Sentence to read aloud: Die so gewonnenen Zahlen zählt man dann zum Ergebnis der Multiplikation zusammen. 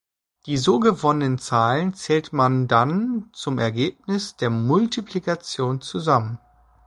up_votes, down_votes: 1, 2